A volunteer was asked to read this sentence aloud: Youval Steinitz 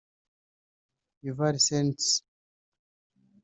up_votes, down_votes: 0, 2